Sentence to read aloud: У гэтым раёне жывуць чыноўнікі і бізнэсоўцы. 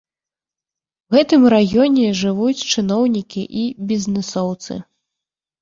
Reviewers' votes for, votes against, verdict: 2, 0, accepted